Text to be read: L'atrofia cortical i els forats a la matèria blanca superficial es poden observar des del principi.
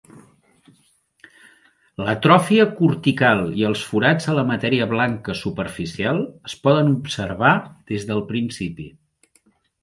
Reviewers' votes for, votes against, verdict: 3, 0, accepted